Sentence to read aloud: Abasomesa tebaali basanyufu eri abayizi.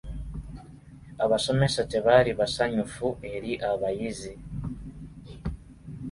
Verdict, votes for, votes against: rejected, 1, 2